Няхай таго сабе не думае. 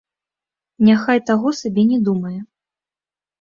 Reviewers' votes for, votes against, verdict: 2, 0, accepted